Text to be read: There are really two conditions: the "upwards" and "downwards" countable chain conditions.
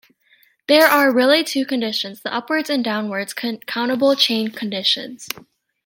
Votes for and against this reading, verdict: 0, 3, rejected